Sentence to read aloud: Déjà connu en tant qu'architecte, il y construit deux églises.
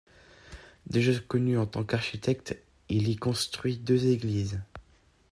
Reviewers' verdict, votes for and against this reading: rejected, 0, 2